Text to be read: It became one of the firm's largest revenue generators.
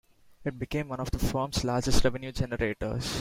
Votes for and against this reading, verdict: 2, 1, accepted